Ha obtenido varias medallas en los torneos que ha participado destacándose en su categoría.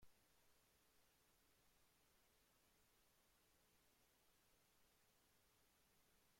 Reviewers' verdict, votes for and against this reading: rejected, 0, 2